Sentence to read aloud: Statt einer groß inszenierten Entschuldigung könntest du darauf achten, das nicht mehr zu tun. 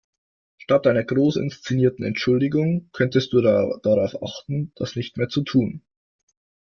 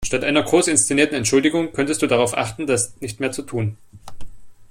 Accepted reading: second